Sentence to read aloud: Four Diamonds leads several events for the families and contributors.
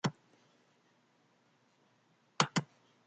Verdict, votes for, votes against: rejected, 0, 2